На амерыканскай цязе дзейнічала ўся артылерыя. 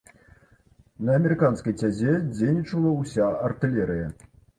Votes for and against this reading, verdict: 0, 2, rejected